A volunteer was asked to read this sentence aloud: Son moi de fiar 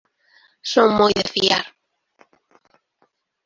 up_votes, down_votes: 0, 2